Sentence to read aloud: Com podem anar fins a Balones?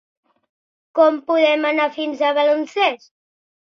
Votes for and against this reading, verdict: 0, 3, rejected